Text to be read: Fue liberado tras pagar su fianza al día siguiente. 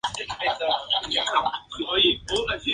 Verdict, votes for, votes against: accepted, 2, 0